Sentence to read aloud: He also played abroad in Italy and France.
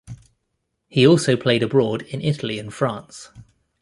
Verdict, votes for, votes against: accepted, 2, 0